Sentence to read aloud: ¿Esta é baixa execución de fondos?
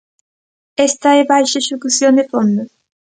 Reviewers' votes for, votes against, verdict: 1, 2, rejected